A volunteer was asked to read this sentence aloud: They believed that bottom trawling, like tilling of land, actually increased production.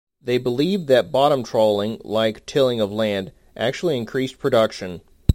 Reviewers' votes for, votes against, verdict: 2, 0, accepted